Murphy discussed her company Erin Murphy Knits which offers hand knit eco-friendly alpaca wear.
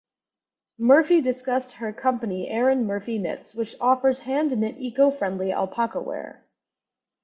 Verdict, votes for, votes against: accepted, 2, 0